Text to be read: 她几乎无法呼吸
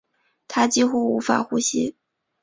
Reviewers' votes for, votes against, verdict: 2, 0, accepted